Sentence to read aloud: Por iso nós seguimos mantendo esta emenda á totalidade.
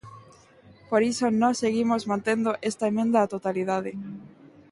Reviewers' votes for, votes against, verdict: 2, 0, accepted